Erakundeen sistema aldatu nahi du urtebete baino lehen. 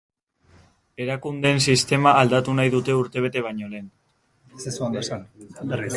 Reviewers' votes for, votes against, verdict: 0, 3, rejected